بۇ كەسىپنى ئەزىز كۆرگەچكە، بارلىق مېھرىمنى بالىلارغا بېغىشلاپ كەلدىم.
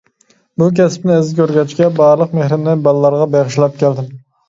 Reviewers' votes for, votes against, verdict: 2, 0, accepted